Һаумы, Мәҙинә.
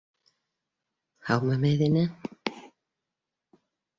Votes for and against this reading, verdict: 1, 2, rejected